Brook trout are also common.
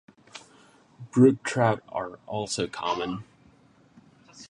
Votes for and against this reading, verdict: 9, 0, accepted